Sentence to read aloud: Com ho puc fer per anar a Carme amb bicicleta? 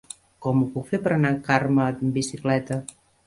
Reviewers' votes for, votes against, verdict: 0, 2, rejected